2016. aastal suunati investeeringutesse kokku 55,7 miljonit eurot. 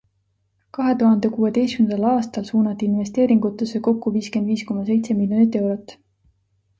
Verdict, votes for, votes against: rejected, 0, 2